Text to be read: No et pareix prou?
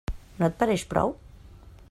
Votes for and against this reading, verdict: 3, 0, accepted